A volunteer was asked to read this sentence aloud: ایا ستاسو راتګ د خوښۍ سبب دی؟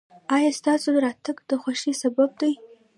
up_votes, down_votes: 0, 2